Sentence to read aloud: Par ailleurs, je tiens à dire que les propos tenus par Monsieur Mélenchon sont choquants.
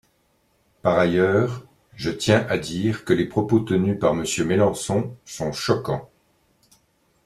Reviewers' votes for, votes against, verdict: 0, 2, rejected